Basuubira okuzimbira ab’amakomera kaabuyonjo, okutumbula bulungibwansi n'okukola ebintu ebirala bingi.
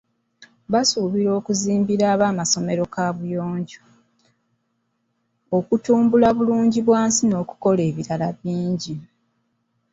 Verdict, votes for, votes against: rejected, 1, 2